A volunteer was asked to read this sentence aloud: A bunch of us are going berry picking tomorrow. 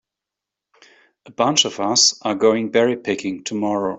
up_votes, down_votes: 2, 0